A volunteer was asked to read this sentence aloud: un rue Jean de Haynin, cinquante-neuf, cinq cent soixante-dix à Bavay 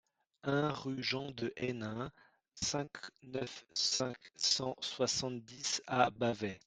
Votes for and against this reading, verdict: 0, 2, rejected